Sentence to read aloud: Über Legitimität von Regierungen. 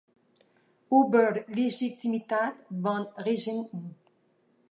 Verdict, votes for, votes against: rejected, 1, 2